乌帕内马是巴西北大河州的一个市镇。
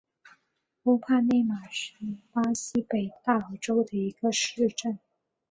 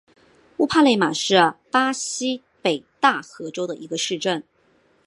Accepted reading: second